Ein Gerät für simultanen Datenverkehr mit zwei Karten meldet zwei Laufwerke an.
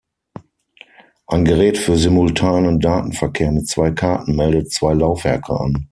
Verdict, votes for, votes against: accepted, 6, 0